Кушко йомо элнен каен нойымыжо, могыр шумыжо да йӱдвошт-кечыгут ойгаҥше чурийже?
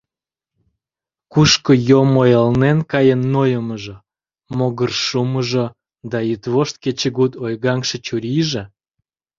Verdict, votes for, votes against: rejected, 1, 2